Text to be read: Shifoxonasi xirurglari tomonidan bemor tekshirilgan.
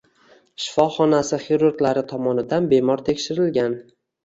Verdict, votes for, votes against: rejected, 1, 2